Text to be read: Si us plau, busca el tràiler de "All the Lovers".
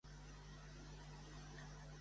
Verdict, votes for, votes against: rejected, 0, 2